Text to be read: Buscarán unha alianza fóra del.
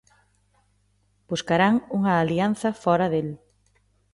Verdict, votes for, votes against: accepted, 2, 0